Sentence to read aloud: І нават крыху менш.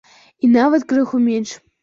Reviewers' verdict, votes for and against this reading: accepted, 2, 0